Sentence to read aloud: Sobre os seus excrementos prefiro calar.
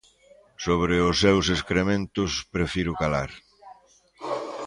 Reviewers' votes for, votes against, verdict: 2, 0, accepted